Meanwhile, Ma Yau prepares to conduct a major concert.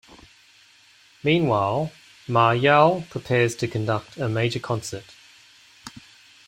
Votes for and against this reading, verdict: 2, 0, accepted